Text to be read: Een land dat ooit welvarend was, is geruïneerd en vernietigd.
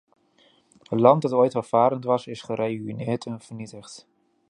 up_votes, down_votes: 0, 2